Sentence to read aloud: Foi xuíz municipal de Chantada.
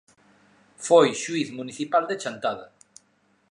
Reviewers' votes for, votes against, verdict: 3, 0, accepted